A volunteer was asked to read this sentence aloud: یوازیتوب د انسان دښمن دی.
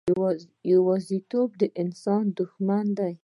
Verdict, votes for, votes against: accepted, 2, 1